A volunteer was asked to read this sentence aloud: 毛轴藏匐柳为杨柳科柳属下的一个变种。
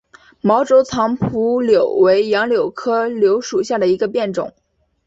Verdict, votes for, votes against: accepted, 2, 1